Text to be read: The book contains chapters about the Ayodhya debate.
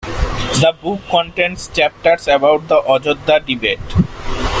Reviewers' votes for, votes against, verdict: 0, 2, rejected